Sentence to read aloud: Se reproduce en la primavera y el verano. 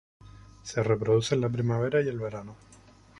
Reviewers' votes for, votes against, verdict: 0, 2, rejected